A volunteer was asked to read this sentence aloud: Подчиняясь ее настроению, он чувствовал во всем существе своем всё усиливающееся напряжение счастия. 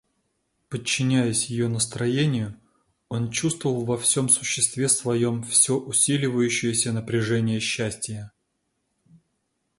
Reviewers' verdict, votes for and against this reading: accepted, 2, 0